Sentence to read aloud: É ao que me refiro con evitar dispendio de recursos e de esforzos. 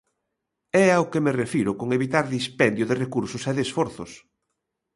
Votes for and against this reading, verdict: 2, 0, accepted